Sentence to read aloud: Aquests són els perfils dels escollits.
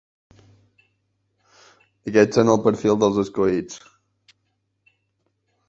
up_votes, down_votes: 1, 2